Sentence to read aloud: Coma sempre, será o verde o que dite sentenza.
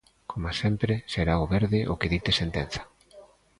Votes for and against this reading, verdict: 2, 0, accepted